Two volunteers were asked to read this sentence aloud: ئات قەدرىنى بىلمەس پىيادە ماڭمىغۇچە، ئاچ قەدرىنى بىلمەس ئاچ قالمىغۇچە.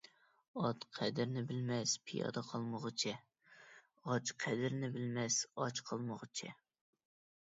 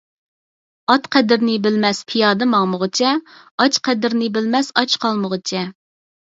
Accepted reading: second